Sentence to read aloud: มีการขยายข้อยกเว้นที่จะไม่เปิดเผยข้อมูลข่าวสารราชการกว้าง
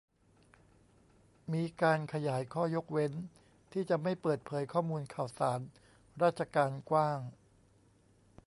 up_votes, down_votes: 2, 0